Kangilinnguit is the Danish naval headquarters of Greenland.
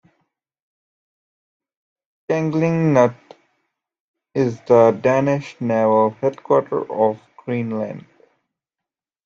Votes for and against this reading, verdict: 1, 2, rejected